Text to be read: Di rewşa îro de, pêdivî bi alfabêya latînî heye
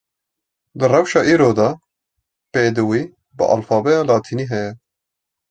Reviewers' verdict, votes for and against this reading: accepted, 2, 0